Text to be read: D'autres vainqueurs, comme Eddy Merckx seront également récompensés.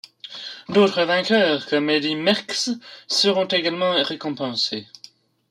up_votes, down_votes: 0, 2